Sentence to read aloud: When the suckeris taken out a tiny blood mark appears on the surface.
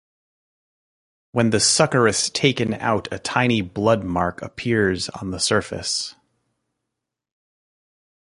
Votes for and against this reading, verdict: 2, 0, accepted